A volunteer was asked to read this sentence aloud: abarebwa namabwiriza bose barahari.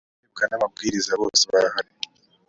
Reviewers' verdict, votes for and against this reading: rejected, 0, 2